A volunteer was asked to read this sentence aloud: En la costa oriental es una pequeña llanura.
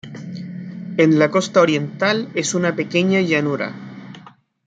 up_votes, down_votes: 2, 0